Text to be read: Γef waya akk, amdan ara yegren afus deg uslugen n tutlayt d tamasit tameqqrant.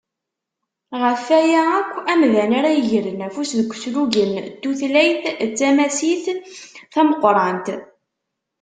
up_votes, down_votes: 2, 0